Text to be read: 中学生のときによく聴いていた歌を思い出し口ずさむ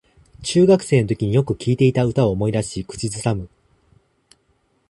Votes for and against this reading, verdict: 0, 2, rejected